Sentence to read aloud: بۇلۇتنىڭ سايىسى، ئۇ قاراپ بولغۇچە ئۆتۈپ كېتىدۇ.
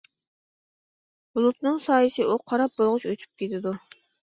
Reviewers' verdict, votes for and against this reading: accepted, 2, 0